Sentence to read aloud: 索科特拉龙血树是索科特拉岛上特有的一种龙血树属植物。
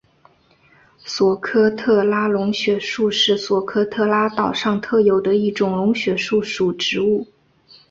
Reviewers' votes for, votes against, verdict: 2, 1, accepted